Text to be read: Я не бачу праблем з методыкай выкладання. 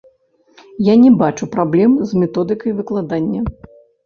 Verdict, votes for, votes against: rejected, 1, 2